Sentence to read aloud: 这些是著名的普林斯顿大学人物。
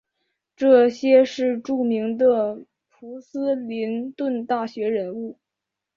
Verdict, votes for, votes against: rejected, 0, 3